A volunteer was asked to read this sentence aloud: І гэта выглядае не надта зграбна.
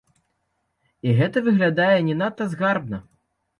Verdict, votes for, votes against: rejected, 0, 2